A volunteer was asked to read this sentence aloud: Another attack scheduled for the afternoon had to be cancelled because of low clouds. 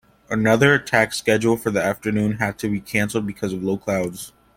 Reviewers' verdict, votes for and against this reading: accepted, 2, 0